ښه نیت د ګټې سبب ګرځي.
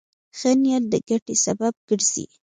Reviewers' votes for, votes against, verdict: 0, 2, rejected